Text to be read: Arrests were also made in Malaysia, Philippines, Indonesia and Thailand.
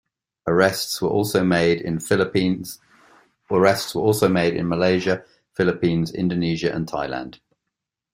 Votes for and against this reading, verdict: 0, 2, rejected